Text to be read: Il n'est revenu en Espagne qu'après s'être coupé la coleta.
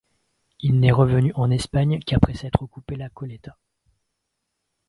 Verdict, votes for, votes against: rejected, 0, 3